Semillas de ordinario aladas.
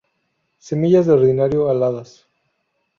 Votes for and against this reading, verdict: 2, 0, accepted